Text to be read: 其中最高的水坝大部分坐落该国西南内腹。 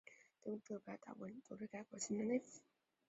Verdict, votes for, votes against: rejected, 2, 4